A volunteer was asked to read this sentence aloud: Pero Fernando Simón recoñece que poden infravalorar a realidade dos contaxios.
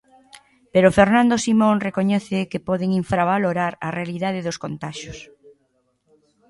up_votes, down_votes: 1, 2